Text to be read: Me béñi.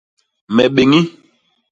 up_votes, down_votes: 2, 0